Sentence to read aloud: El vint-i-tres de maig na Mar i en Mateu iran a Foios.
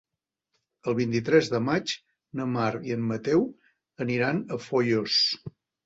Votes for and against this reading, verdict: 0, 2, rejected